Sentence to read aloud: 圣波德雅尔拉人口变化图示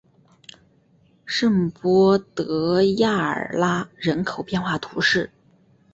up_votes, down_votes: 2, 0